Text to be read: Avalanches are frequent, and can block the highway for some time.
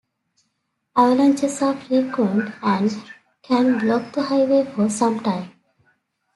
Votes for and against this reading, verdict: 2, 1, accepted